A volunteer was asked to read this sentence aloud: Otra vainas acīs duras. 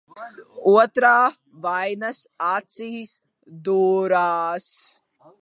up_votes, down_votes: 1, 2